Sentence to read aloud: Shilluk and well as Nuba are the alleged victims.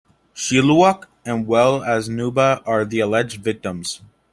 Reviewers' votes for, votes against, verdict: 2, 0, accepted